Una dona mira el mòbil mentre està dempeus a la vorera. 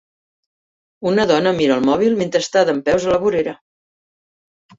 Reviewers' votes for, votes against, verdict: 2, 0, accepted